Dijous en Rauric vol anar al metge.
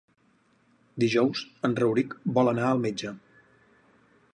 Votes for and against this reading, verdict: 4, 0, accepted